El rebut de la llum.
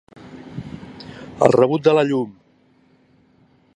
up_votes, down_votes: 3, 0